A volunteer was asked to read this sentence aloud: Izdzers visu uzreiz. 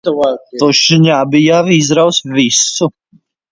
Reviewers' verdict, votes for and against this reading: rejected, 0, 2